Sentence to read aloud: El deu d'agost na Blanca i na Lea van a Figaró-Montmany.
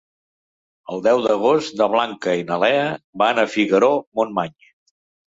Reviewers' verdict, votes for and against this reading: accepted, 3, 0